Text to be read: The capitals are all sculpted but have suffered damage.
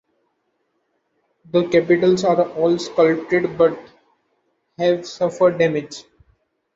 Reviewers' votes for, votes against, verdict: 3, 1, accepted